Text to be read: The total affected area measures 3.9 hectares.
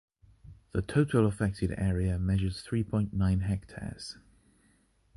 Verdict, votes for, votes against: rejected, 0, 2